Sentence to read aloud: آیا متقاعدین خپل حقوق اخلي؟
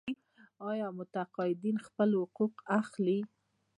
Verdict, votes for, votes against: accepted, 2, 0